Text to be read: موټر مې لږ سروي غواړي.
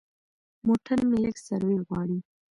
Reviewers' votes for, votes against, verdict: 0, 2, rejected